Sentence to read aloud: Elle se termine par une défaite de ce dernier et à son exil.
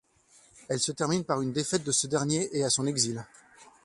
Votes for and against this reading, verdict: 2, 0, accepted